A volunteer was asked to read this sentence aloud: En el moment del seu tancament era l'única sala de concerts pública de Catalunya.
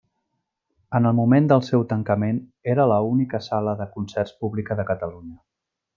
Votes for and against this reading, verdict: 0, 2, rejected